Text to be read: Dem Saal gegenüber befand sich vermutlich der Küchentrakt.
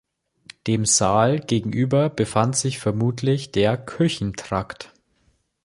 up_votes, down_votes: 2, 0